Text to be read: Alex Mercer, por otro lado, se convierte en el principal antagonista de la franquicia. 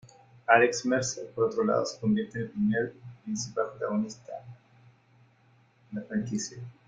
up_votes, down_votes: 1, 2